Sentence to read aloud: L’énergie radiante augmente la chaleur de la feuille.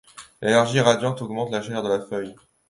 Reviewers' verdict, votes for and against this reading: accepted, 2, 0